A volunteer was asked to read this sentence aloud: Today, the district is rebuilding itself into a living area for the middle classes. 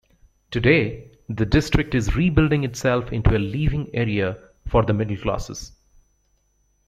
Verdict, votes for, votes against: rejected, 0, 2